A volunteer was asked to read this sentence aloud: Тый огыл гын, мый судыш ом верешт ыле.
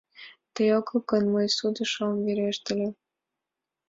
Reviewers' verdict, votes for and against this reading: accepted, 3, 0